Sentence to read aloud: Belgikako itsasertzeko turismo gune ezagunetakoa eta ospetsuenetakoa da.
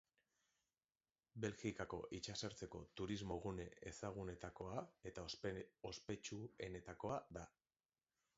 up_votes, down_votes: 0, 2